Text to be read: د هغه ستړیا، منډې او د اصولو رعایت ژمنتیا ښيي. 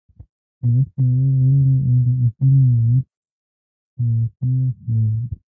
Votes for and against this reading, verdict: 0, 2, rejected